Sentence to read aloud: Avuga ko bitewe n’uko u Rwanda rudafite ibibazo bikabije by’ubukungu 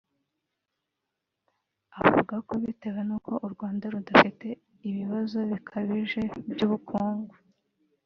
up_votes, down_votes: 0, 2